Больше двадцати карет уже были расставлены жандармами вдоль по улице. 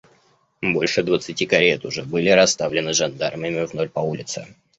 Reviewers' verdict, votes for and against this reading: rejected, 0, 2